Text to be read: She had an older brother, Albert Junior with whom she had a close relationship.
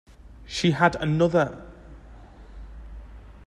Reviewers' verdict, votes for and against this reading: rejected, 0, 2